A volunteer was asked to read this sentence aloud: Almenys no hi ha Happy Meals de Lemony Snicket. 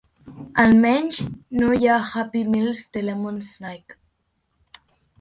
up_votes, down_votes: 2, 0